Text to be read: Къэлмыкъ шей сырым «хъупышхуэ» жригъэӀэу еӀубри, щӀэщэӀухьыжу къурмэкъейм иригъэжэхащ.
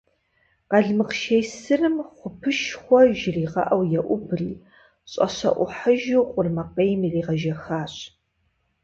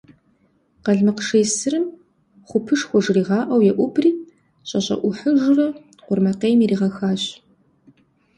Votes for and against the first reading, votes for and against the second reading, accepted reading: 4, 0, 1, 2, first